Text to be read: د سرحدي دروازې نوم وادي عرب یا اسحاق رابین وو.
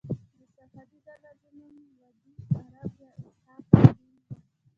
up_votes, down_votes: 1, 2